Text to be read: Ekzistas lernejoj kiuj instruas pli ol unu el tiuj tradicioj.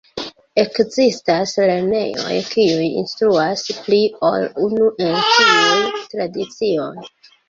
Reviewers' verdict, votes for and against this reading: rejected, 1, 2